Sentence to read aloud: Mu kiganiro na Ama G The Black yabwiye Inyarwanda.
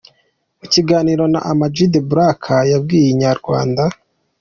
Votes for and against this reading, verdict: 2, 1, accepted